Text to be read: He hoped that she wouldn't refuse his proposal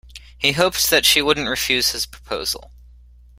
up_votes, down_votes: 1, 2